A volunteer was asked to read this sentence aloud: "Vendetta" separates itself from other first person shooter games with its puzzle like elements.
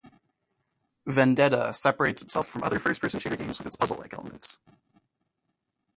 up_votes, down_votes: 0, 3